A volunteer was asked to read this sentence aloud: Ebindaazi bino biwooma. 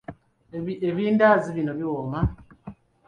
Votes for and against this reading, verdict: 0, 2, rejected